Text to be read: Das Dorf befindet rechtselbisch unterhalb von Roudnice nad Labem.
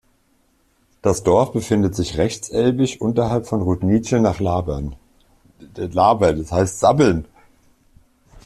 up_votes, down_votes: 0, 2